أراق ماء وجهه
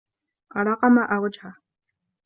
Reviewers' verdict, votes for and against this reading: accepted, 2, 0